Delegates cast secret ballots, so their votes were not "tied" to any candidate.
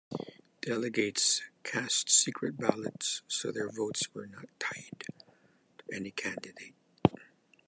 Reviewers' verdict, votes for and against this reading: accepted, 2, 1